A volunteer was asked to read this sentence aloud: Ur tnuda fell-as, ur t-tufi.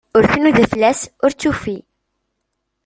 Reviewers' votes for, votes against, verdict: 1, 2, rejected